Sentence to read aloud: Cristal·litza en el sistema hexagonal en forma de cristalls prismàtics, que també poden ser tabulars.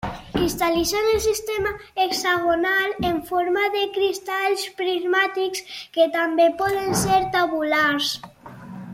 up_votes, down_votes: 2, 0